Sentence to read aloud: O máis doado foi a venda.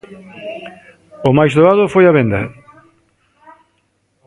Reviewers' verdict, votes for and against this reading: rejected, 1, 2